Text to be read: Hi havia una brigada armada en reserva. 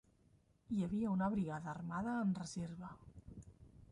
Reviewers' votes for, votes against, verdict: 2, 1, accepted